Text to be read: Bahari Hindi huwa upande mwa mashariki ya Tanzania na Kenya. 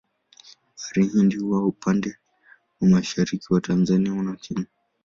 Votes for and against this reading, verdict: 0, 2, rejected